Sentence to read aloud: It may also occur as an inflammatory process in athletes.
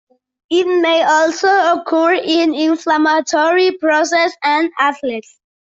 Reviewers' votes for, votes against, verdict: 0, 2, rejected